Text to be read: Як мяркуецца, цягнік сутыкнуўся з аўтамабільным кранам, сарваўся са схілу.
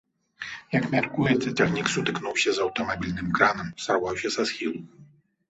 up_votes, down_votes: 2, 1